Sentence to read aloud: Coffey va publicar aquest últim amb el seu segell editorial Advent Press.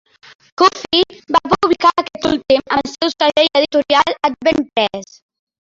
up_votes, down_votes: 0, 2